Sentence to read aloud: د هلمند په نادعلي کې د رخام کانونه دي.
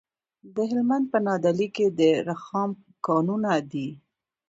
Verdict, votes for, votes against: accepted, 2, 0